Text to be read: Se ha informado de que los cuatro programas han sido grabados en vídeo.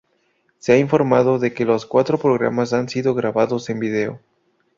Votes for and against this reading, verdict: 2, 0, accepted